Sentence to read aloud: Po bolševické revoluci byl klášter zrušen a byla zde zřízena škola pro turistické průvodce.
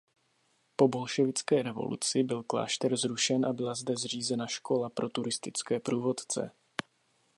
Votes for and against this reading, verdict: 2, 0, accepted